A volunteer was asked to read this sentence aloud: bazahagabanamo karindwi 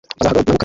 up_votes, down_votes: 1, 2